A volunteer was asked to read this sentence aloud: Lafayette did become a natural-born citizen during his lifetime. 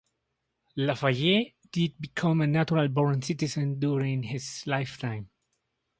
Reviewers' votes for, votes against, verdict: 4, 0, accepted